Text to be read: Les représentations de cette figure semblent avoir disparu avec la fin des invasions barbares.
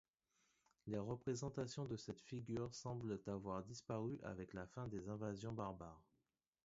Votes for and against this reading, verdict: 2, 0, accepted